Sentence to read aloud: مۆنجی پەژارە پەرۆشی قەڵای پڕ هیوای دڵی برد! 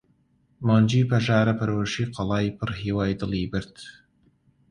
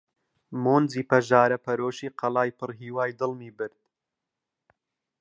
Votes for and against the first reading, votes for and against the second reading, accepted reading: 2, 1, 1, 2, first